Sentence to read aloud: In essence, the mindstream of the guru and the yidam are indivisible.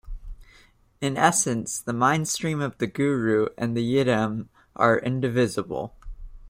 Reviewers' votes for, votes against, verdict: 2, 0, accepted